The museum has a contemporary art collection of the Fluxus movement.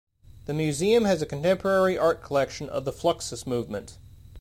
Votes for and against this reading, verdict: 2, 0, accepted